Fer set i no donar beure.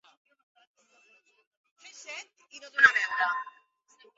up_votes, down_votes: 1, 4